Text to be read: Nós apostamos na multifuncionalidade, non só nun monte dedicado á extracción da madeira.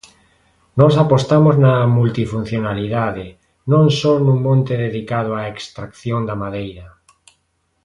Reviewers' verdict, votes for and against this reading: accepted, 2, 0